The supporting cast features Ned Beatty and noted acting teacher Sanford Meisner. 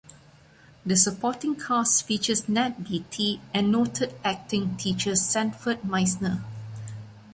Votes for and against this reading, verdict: 2, 1, accepted